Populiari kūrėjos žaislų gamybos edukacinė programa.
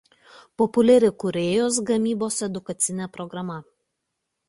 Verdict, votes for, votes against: rejected, 0, 2